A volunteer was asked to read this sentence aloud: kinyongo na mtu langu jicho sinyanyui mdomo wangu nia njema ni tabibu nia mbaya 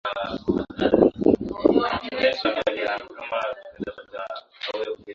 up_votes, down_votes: 0, 2